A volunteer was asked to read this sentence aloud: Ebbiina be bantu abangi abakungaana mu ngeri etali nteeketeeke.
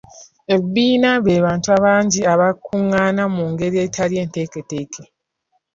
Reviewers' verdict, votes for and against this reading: accepted, 4, 2